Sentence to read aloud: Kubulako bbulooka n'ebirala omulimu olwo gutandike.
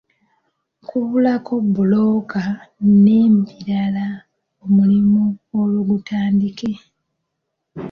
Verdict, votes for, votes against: rejected, 1, 2